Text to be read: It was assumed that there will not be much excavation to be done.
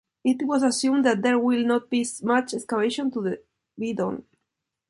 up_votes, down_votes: 2, 0